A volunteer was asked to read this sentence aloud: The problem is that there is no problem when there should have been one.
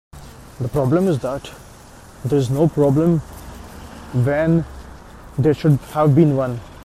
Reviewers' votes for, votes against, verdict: 2, 1, accepted